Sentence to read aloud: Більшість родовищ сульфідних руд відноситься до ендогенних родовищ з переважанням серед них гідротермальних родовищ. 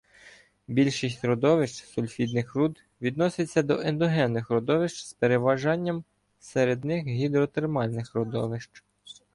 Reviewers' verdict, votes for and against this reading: accepted, 2, 0